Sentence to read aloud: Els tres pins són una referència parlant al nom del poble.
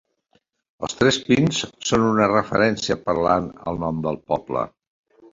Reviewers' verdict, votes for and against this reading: accepted, 2, 0